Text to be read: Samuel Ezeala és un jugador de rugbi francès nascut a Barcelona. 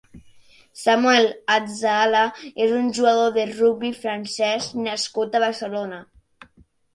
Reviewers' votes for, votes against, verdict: 1, 2, rejected